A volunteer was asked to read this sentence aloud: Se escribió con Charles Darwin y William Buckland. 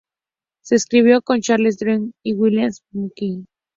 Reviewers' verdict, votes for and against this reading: rejected, 0, 2